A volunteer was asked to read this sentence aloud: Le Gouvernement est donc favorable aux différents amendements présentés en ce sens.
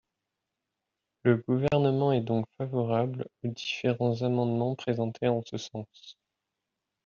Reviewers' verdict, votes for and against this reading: rejected, 0, 2